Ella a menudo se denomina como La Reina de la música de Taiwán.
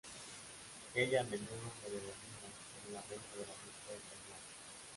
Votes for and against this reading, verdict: 1, 2, rejected